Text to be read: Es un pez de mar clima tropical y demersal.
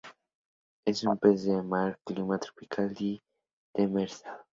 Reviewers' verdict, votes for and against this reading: rejected, 0, 2